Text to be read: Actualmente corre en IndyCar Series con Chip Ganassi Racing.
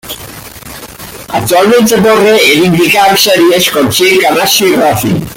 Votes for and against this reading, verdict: 2, 0, accepted